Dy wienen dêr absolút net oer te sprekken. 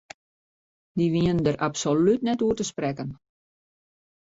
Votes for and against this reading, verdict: 2, 1, accepted